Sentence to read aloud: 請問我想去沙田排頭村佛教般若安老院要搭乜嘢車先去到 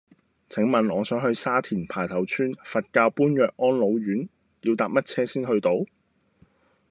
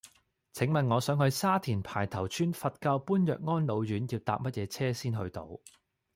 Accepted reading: second